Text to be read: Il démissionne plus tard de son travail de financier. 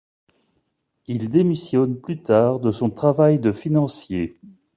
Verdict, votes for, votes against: accepted, 2, 0